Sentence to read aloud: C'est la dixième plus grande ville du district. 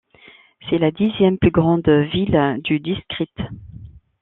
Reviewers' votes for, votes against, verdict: 2, 1, accepted